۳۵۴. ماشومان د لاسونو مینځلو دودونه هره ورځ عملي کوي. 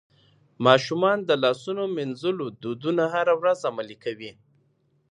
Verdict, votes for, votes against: rejected, 0, 2